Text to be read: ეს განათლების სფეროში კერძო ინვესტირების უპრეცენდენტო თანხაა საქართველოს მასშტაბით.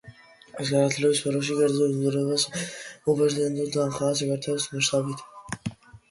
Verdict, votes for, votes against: rejected, 0, 2